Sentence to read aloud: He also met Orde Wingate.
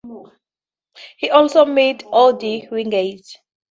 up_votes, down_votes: 2, 0